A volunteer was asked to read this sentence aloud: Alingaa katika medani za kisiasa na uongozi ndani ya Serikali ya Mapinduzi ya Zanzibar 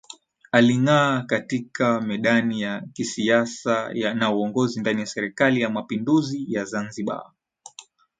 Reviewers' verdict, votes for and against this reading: accepted, 2, 0